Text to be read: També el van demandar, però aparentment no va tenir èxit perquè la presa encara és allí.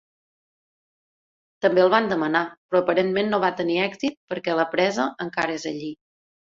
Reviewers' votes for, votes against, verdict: 1, 2, rejected